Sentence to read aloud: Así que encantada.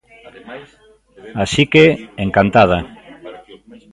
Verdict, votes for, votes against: rejected, 1, 2